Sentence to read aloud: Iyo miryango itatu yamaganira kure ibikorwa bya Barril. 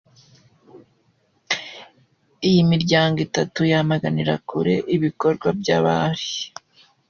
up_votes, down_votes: 2, 1